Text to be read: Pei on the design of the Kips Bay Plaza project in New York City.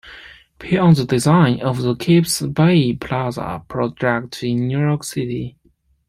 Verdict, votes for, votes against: rejected, 1, 2